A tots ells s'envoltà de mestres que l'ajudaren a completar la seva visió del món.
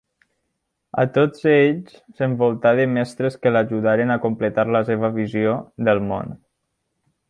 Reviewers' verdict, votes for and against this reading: accepted, 2, 0